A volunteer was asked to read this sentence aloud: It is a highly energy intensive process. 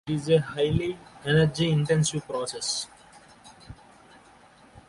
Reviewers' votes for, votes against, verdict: 2, 1, accepted